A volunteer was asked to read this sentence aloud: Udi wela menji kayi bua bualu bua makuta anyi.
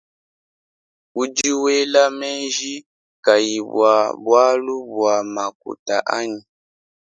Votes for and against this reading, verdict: 2, 0, accepted